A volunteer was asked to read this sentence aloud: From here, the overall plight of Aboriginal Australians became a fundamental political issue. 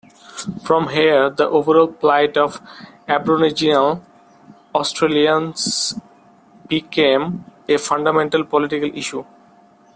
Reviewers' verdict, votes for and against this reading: accepted, 2, 0